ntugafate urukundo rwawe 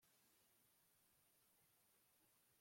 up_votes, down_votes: 1, 2